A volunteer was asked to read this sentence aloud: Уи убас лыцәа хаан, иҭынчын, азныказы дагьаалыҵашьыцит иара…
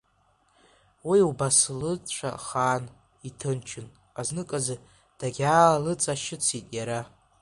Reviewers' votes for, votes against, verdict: 2, 1, accepted